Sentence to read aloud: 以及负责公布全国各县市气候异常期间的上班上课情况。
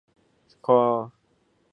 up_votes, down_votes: 0, 3